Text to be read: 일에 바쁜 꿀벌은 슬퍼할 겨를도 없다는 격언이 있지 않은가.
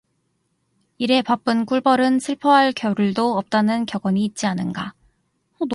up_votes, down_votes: 2, 0